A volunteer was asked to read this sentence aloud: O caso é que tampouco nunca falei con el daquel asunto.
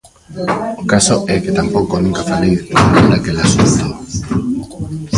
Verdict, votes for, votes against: rejected, 0, 2